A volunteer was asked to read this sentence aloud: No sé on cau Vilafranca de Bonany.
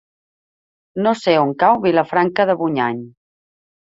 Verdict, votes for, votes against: rejected, 0, 3